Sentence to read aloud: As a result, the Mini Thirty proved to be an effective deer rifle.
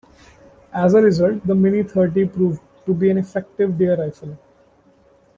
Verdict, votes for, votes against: rejected, 1, 2